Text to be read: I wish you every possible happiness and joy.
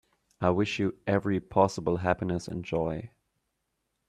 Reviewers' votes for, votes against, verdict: 2, 0, accepted